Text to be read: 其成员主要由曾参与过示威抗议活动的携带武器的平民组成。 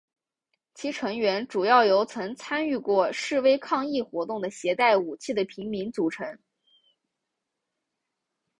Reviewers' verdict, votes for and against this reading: accepted, 5, 0